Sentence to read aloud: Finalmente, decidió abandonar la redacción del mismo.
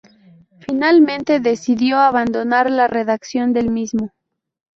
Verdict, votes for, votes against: rejected, 0, 2